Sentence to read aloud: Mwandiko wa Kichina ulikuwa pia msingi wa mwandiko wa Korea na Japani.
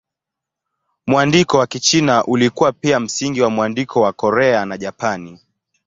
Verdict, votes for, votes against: accepted, 2, 0